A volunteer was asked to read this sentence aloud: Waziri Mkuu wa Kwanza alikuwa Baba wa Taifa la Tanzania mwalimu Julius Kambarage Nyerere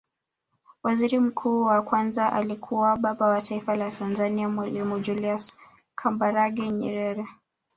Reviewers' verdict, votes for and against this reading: accepted, 2, 0